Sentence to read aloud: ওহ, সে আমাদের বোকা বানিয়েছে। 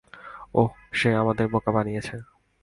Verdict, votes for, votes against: accepted, 2, 0